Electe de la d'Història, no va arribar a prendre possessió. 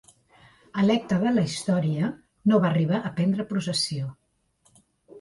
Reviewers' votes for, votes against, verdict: 1, 2, rejected